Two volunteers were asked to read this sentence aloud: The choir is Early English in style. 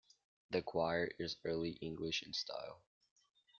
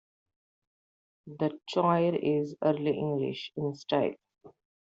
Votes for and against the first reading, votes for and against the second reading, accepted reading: 2, 0, 1, 2, first